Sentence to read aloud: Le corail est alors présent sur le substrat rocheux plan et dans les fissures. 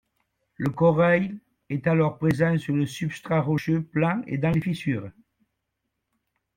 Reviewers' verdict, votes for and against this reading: accepted, 2, 1